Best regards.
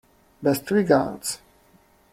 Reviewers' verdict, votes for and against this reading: accepted, 2, 0